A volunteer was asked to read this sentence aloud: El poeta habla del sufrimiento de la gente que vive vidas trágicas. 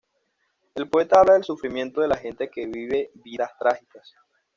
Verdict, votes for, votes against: rejected, 1, 2